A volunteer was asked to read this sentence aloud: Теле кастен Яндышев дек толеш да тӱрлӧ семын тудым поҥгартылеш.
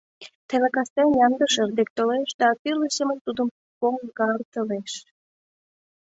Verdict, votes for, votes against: rejected, 0, 2